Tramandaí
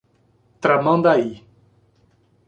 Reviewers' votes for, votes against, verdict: 2, 0, accepted